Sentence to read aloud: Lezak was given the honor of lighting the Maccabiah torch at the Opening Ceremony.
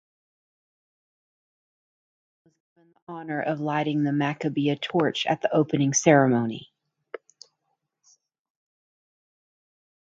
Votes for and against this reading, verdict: 0, 2, rejected